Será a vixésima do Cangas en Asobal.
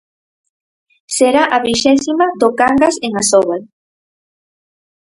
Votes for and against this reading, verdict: 0, 4, rejected